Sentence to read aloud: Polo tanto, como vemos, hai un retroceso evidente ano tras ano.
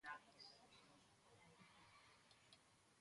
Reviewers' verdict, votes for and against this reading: rejected, 0, 2